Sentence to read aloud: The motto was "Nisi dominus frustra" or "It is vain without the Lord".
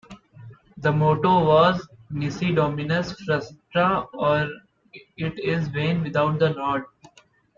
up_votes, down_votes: 1, 2